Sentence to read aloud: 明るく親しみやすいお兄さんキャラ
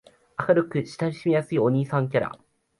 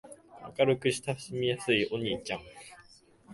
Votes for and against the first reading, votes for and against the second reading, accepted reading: 2, 0, 1, 2, first